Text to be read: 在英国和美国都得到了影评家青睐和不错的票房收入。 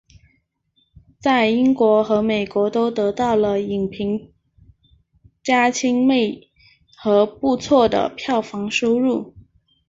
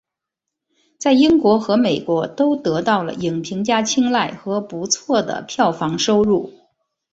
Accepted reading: second